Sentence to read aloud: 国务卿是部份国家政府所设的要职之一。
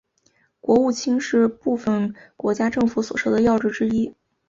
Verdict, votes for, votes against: accepted, 2, 0